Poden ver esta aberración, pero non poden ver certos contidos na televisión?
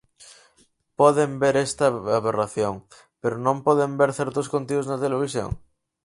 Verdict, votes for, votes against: rejected, 0, 4